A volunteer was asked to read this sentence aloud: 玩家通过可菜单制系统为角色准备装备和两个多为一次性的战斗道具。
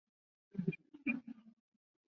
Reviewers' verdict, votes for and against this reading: accepted, 2, 0